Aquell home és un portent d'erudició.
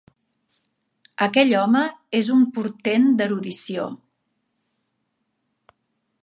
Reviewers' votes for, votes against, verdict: 5, 0, accepted